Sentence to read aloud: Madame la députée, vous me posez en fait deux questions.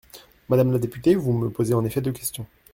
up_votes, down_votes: 2, 1